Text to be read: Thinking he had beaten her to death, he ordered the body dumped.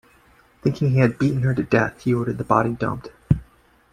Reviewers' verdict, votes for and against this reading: accepted, 2, 0